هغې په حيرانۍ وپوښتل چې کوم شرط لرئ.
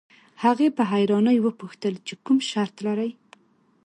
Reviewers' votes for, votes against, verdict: 2, 0, accepted